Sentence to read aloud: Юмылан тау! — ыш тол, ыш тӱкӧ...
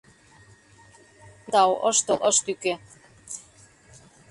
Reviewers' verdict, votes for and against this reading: rejected, 0, 2